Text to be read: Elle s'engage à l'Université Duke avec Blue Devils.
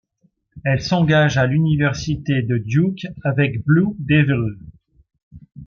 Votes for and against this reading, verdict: 1, 2, rejected